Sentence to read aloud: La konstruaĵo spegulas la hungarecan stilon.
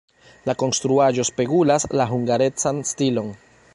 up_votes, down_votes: 2, 0